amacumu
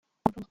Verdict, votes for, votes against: rejected, 0, 2